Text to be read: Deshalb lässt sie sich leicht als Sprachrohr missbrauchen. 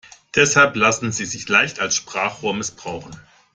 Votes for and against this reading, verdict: 0, 2, rejected